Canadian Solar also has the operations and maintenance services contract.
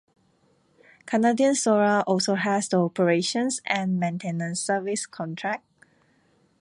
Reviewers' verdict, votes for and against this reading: accepted, 2, 0